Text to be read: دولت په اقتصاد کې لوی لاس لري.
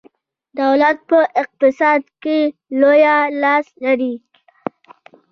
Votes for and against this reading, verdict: 2, 0, accepted